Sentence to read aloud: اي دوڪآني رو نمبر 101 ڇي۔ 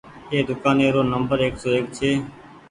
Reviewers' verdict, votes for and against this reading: rejected, 0, 2